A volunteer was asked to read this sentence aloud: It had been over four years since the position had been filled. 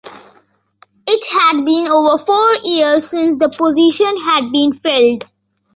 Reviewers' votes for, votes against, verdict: 2, 0, accepted